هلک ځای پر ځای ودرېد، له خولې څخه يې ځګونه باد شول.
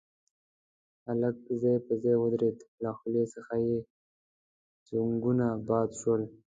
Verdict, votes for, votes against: rejected, 0, 2